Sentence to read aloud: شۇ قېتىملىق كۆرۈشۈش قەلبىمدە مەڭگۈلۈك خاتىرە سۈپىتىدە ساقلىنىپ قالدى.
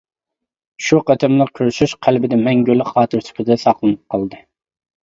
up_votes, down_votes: 0, 2